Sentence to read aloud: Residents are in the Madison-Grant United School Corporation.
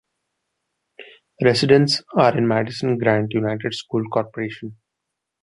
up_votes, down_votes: 2, 0